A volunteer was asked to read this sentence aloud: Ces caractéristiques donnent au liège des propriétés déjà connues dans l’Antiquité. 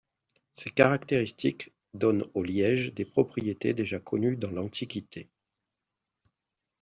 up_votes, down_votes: 2, 0